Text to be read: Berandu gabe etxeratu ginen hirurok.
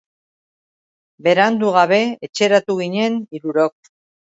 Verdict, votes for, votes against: accepted, 2, 0